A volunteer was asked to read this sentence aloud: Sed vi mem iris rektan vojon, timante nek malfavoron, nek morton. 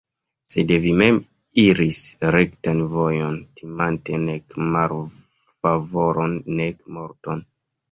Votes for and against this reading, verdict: 1, 2, rejected